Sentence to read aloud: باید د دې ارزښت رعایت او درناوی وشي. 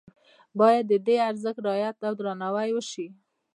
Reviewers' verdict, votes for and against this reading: rejected, 0, 2